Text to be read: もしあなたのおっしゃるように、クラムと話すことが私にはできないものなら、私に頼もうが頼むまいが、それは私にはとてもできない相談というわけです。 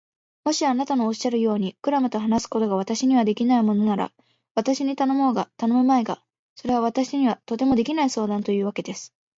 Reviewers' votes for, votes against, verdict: 2, 0, accepted